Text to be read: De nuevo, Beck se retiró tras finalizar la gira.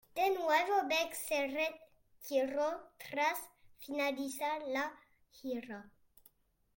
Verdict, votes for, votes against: accepted, 2, 1